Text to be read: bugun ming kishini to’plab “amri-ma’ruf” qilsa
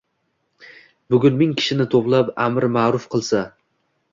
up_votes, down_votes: 2, 1